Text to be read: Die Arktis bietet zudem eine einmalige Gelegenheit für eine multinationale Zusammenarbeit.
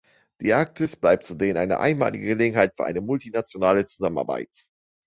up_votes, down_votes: 0, 2